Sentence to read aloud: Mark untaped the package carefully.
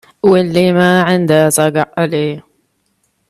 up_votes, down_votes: 0, 2